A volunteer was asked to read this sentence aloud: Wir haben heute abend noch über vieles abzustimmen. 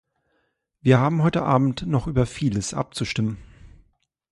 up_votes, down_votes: 2, 0